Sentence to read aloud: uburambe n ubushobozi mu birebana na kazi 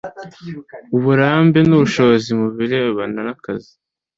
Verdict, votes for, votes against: accepted, 2, 0